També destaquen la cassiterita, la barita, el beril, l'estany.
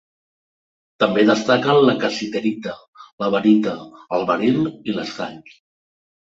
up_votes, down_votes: 0, 2